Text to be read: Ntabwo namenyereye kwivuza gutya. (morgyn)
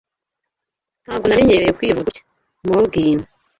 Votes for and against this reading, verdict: 2, 1, accepted